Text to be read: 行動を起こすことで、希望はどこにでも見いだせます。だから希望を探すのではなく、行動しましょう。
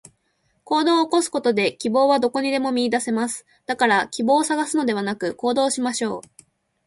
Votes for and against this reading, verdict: 2, 0, accepted